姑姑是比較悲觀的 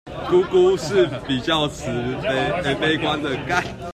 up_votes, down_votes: 0, 2